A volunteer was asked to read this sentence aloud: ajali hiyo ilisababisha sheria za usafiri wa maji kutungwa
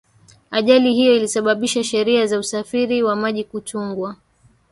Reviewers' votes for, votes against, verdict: 1, 2, rejected